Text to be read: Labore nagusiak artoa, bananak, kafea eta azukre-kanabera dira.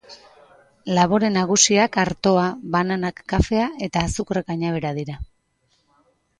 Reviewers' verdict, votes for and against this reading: rejected, 1, 2